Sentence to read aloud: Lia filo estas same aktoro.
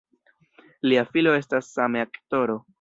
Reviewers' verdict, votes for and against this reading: rejected, 0, 2